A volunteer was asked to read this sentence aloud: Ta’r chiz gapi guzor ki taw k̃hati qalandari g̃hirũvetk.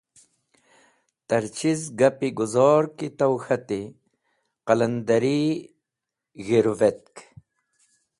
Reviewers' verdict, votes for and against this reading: accepted, 2, 0